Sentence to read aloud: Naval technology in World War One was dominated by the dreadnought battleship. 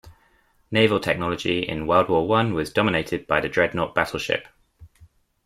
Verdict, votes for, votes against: accepted, 2, 0